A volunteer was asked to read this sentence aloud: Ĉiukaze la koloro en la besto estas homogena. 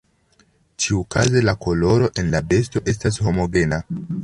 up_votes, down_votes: 3, 2